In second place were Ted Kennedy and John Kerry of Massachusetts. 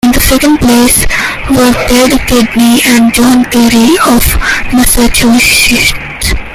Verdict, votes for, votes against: rejected, 0, 2